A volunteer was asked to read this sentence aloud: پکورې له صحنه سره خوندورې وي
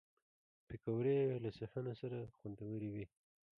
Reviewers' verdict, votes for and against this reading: rejected, 1, 2